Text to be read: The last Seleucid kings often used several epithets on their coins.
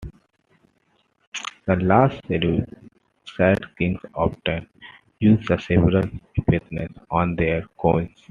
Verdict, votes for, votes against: rejected, 1, 2